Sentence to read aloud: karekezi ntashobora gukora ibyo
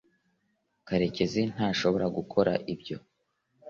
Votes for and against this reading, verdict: 2, 0, accepted